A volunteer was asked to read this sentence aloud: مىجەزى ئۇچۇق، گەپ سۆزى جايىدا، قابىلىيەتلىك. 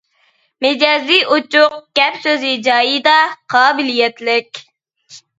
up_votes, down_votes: 3, 0